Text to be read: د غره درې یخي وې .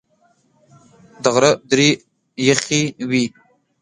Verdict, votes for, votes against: rejected, 1, 2